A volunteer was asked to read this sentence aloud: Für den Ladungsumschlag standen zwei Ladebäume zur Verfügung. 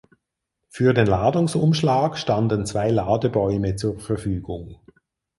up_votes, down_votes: 4, 0